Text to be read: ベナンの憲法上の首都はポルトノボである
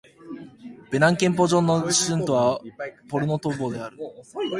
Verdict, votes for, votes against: rejected, 1, 3